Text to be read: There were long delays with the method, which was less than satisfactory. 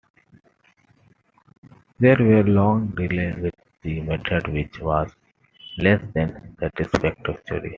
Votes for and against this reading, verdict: 2, 1, accepted